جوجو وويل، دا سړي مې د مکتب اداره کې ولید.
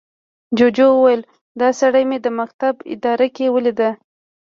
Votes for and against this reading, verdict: 2, 0, accepted